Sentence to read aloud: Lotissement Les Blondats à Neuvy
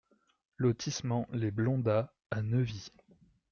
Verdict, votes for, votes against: accepted, 2, 0